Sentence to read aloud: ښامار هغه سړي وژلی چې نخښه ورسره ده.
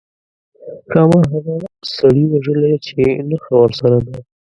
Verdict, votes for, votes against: rejected, 1, 2